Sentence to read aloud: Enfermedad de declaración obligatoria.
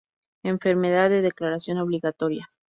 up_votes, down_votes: 0, 2